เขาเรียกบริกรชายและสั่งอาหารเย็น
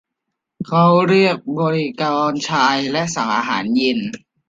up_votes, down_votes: 2, 0